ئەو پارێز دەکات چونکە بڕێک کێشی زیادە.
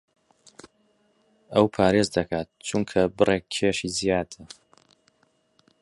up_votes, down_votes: 2, 0